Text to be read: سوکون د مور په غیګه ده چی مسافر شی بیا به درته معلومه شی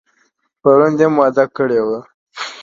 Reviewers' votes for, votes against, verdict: 1, 2, rejected